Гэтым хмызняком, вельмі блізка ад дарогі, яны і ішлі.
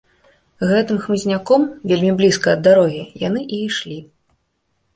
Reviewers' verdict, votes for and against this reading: accepted, 2, 0